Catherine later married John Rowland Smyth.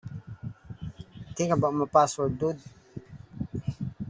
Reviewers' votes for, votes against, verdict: 0, 2, rejected